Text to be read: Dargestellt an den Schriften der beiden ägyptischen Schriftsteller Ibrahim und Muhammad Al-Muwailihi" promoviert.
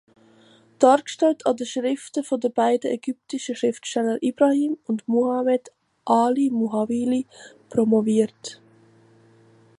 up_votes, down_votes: 1, 2